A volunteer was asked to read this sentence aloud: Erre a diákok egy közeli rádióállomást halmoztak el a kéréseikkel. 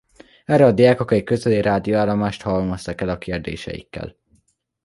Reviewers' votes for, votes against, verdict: 0, 2, rejected